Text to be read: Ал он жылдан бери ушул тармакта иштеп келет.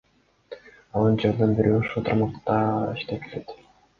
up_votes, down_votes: 2, 0